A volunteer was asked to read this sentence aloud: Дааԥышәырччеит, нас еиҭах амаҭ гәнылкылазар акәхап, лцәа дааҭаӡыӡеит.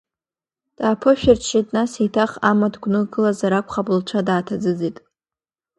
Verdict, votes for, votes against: accepted, 2, 0